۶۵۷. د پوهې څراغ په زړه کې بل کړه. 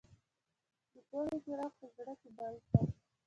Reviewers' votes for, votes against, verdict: 0, 2, rejected